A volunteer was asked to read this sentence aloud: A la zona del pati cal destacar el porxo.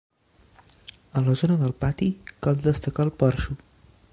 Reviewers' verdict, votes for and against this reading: accepted, 2, 0